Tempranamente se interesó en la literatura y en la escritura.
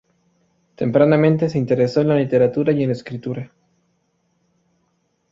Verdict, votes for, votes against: rejected, 2, 2